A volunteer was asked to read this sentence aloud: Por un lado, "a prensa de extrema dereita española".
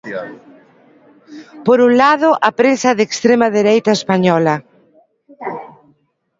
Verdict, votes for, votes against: rejected, 1, 2